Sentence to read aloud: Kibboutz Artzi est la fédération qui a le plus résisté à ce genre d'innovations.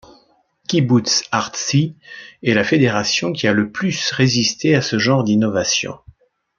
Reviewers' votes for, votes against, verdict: 2, 0, accepted